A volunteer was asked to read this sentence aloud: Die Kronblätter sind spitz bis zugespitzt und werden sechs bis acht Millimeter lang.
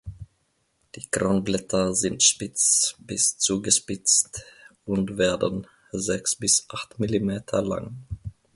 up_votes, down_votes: 2, 0